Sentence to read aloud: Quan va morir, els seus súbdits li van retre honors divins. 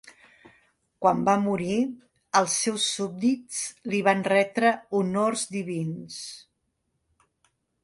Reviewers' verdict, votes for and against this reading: accepted, 2, 0